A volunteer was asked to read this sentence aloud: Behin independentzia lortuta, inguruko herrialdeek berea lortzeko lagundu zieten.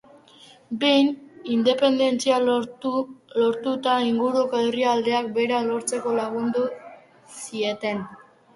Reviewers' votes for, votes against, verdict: 0, 4, rejected